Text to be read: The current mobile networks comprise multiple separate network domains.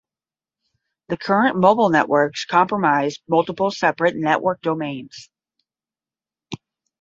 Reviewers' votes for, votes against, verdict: 0, 10, rejected